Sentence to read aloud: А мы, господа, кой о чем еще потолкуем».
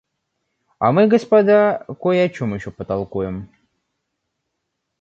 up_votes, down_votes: 0, 2